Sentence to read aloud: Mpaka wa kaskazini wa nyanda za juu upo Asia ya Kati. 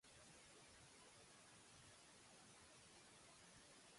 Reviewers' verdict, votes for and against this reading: rejected, 0, 2